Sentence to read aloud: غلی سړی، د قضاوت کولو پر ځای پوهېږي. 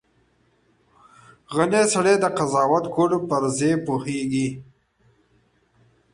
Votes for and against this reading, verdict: 1, 2, rejected